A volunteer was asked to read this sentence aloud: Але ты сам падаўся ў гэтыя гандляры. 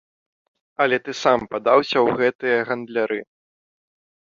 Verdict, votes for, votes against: accepted, 2, 0